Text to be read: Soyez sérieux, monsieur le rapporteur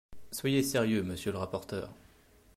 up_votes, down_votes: 2, 0